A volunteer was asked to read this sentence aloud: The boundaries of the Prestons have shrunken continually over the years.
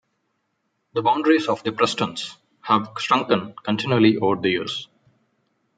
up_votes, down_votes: 2, 0